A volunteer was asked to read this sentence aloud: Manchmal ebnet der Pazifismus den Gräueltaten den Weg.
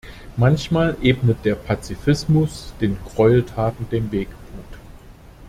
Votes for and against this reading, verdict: 0, 2, rejected